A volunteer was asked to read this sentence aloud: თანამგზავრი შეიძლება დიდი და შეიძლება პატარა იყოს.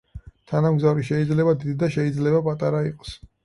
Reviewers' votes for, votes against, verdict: 4, 0, accepted